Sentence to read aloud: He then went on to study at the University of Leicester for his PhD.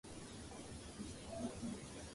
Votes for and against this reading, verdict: 0, 2, rejected